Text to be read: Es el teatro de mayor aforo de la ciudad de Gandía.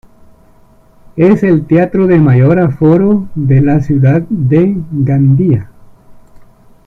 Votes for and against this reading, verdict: 0, 2, rejected